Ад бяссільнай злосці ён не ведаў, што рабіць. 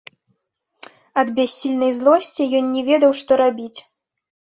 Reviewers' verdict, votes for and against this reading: accepted, 2, 0